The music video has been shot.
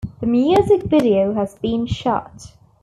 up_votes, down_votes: 2, 0